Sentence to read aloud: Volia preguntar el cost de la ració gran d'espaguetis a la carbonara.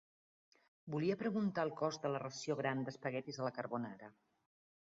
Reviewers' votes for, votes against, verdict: 0, 2, rejected